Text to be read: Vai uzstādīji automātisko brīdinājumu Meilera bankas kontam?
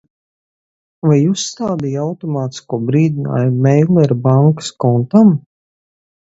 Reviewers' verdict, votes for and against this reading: accepted, 4, 0